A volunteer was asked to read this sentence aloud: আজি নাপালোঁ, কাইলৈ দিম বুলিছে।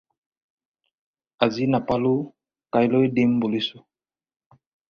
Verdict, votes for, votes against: rejected, 2, 4